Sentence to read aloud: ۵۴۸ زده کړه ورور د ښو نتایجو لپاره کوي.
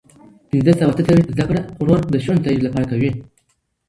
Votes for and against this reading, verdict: 0, 2, rejected